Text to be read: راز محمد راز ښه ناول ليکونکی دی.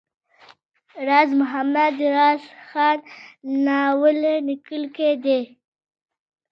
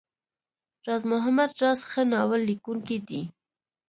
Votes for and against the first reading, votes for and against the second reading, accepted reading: 1, 2, 2, 1, second